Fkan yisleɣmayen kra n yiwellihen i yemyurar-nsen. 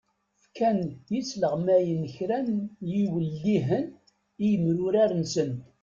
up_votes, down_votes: 1, 2